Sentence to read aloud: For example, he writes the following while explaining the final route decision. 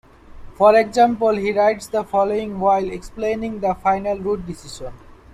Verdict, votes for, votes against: rejected, 1, 2